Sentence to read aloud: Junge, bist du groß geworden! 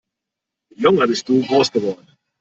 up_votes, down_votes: 1, 2